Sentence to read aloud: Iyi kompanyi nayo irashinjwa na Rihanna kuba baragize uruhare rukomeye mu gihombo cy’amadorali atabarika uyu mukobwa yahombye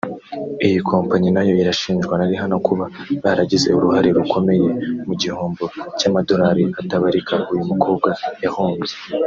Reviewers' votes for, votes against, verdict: 2, 0, accepted